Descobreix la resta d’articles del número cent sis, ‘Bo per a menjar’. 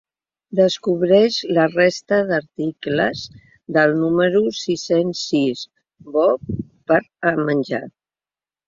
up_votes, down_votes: 0, 2